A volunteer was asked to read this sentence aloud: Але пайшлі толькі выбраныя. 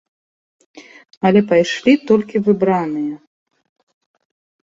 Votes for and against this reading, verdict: 2, 1, accepted